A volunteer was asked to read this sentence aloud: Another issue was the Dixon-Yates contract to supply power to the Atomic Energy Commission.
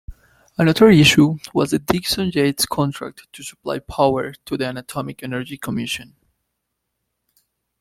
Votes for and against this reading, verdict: 2, 0, accepted